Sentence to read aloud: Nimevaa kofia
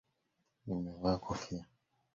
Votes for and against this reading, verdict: 2, 0, accepted